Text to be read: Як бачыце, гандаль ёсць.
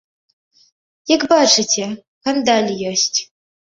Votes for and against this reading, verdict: 0, 3, rejected